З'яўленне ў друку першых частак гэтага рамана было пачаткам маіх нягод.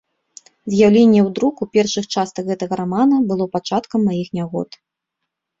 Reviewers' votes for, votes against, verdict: 2, 0, accepted